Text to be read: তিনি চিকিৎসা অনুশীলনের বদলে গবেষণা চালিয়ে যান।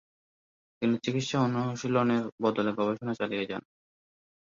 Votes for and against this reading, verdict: 0, 2, rejected